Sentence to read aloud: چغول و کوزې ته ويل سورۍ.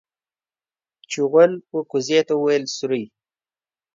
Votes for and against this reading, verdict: 2, 0, accepted